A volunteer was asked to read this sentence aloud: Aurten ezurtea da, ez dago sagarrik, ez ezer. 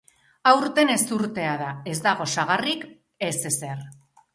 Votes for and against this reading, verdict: 2, 0, accepted